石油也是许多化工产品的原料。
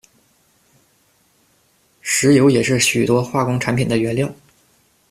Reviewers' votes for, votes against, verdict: 2, 0, accepted